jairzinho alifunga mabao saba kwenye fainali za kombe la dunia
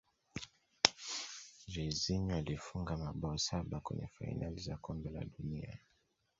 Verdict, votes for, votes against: accepted, 2, 0